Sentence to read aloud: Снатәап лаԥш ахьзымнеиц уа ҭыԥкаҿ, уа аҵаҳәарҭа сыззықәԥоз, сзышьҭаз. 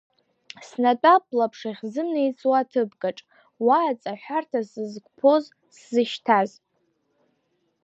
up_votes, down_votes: 1, 2